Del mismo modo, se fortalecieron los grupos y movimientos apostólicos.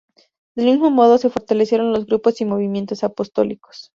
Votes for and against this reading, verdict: 2, 0, accepted